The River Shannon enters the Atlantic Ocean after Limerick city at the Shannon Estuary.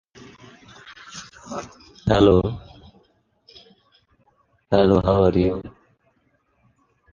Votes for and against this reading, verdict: 0, 2, rejected